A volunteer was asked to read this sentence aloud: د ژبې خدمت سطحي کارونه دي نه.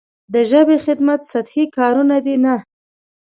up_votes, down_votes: 2, 0